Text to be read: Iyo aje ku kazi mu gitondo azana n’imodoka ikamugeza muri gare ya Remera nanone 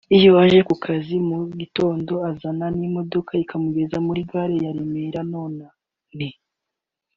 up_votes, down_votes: 0, 2